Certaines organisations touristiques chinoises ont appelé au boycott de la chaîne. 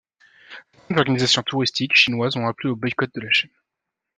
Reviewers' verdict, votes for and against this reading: rejected, 0, 2